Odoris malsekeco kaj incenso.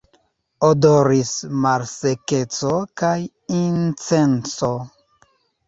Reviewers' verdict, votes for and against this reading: rejected, 1, 2